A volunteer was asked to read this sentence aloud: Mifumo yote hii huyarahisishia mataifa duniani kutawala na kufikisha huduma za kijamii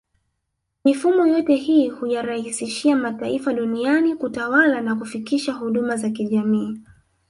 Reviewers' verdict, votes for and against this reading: rejected, 1, 2